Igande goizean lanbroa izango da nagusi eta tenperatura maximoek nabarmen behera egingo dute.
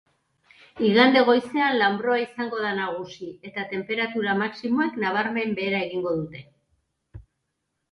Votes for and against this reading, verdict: 2, 0, accepted